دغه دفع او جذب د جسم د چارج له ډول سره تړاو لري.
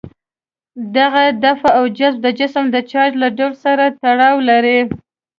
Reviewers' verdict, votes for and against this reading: accepted, 2, 0